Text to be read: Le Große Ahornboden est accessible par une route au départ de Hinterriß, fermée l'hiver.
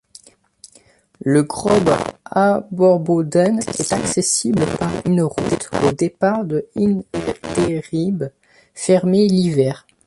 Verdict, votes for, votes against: rejected, 1, 2